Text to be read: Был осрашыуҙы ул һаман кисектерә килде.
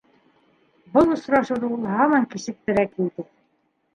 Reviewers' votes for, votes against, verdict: 1, 2, rejected